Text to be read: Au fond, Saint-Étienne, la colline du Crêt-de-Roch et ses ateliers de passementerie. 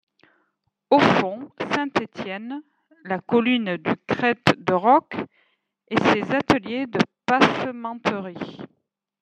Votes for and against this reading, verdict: 0, 2, rejected